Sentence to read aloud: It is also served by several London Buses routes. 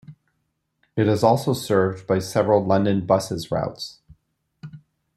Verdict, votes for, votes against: accepted, 2, 1